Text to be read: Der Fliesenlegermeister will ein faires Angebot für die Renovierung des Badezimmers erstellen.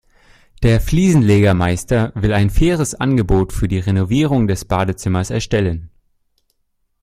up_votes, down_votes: 2, 0